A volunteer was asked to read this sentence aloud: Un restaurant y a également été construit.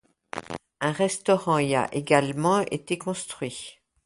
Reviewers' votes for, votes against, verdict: 2, 0, accepted